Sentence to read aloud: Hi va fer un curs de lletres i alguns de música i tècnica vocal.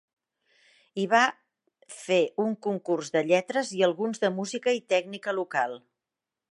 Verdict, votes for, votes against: rejected, 0, 2